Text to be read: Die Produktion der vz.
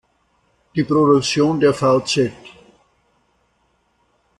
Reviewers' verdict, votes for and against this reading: accepted, 2, 1